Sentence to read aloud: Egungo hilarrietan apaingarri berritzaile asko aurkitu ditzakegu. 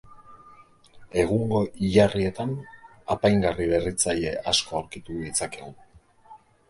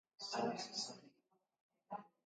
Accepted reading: first